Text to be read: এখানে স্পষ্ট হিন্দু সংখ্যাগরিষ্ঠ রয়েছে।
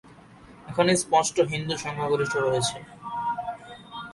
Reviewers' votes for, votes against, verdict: 13, 3, accepted